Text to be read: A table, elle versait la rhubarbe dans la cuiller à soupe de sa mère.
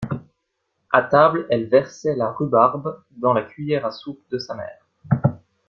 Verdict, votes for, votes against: accepted, 2, 0